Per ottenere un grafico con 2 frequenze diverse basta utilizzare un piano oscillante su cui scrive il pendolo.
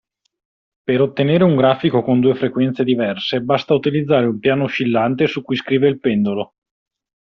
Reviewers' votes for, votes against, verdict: 0, 2, rejected